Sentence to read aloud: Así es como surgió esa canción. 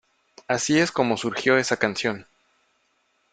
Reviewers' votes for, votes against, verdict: 2, 0, accepted